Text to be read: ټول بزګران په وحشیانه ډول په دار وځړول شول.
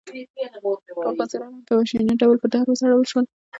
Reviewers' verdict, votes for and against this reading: rejected, 1, 2